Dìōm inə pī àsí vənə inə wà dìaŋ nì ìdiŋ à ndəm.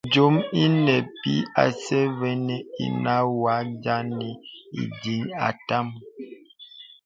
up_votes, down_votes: 1, 2